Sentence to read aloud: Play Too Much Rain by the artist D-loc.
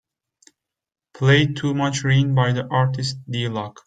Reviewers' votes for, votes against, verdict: 2, 0, accepted